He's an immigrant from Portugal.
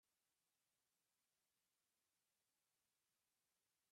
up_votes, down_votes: 0, 2